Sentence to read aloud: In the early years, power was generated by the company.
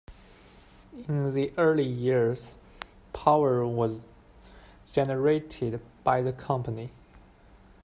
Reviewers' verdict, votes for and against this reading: accepted, 2, 0